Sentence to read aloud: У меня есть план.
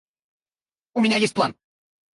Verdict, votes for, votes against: rejected, 2, 2